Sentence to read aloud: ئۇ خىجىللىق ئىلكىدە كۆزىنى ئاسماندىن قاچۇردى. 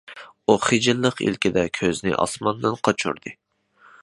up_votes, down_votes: 2, 0